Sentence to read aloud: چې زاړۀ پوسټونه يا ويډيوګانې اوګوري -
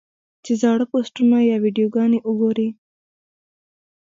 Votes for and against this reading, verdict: 1, 2, rejected